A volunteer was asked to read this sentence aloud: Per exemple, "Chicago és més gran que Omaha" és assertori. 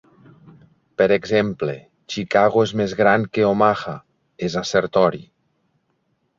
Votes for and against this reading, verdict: 2, 0, accepted